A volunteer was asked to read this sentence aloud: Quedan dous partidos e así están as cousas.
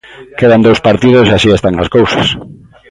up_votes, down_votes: 2, 1